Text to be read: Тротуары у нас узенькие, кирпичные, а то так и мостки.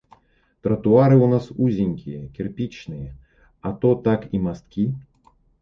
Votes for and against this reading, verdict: 2, 0, accepted